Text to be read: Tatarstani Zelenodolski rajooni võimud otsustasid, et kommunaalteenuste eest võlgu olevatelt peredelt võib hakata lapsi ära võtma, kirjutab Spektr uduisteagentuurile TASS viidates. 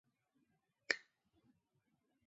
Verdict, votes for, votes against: rejected, 0, 2